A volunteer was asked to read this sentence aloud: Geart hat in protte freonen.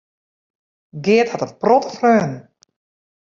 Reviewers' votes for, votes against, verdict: 0, 2, rejected